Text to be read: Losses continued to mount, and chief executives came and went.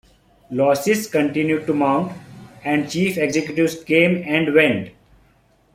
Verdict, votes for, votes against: accepted, 2, 0